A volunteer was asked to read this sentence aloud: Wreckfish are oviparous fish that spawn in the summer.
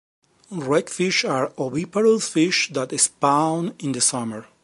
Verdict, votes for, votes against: accepted, 2, 1